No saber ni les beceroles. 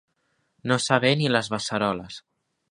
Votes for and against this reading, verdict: 2, 0, accepted